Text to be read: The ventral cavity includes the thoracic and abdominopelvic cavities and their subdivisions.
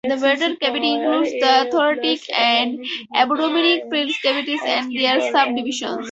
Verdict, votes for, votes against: rejected, 0, 4